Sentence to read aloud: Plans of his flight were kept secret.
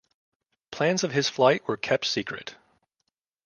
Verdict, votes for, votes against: accepted, 2, 0